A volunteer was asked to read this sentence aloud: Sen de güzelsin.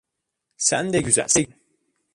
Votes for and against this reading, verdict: 1, 2, rejected